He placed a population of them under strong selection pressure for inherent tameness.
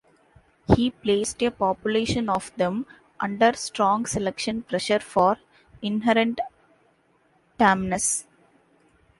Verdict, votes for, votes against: rejected, 1, 2